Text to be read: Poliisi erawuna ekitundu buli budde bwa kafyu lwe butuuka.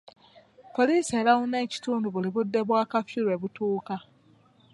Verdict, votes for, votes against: accepted, 2, 0